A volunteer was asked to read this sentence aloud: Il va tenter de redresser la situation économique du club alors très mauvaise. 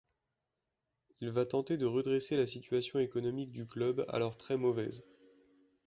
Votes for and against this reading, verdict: 2, 0, accepted